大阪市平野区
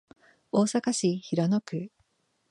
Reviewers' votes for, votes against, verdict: 2, 0, accepted